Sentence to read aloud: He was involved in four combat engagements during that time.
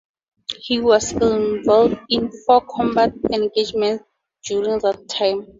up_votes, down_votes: 0, 2